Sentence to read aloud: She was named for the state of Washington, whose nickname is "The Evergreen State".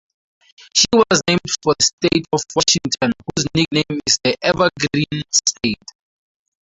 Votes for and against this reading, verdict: 0, 2, rejected